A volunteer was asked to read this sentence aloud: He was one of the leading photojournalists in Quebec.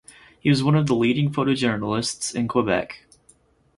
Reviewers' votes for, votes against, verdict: 4, 0, accepted